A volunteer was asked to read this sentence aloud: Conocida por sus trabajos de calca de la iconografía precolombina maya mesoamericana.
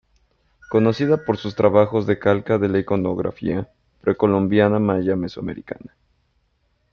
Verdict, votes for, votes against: rejected, 1, 2